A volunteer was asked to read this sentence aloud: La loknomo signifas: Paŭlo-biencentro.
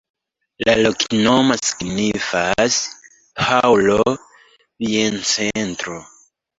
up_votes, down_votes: 0, 2